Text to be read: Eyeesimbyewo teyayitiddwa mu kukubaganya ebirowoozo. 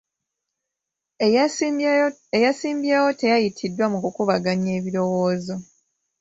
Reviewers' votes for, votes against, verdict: 1, 2, rejected